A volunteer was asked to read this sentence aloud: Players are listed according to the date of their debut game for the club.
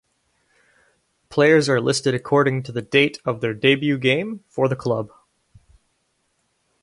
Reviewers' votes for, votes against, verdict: 2, 2, rejected